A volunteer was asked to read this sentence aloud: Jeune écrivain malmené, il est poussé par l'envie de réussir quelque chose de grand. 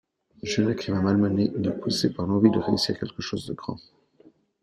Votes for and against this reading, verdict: 0, 2, rejected